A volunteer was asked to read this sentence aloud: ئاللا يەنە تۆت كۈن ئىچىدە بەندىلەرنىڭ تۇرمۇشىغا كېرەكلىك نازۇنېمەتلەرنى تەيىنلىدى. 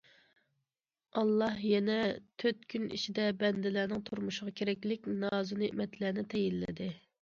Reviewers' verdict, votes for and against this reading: accepted, 2, 1